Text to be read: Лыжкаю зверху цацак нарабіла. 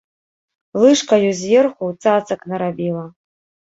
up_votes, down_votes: 2, 0